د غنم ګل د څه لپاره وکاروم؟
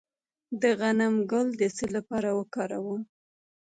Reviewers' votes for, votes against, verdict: 2, 1, accepted